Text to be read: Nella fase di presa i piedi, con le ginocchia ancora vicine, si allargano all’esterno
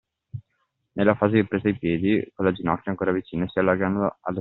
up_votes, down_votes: 0, 2